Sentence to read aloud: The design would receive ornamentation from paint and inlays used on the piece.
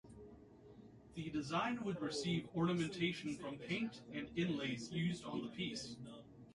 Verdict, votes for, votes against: accepted, 2, 0